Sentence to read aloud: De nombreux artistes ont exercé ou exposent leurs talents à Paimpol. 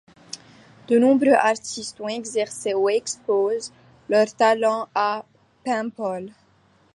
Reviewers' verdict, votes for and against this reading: accepted, 2, 1